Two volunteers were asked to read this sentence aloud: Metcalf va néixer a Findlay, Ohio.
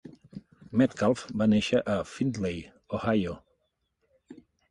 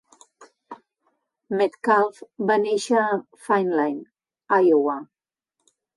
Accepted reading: first